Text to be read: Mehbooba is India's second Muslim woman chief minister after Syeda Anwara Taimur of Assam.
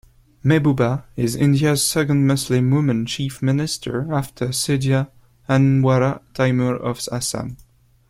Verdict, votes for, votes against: accepted, 2, 0